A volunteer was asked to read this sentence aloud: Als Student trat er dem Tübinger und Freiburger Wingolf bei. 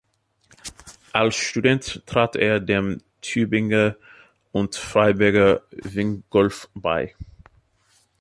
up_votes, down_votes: 2, 0